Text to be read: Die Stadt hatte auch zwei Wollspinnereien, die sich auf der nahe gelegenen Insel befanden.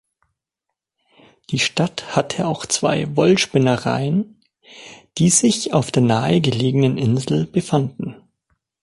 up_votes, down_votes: 3, 0